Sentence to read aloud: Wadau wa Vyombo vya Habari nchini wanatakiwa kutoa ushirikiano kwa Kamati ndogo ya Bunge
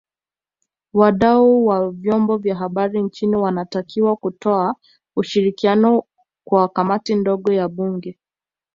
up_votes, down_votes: 2, 0